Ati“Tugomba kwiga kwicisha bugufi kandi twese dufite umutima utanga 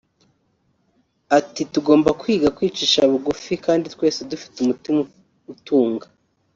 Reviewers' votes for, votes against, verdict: 1, 2, rejected